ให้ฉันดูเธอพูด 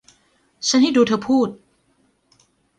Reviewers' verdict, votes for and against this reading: rejected, 1, 2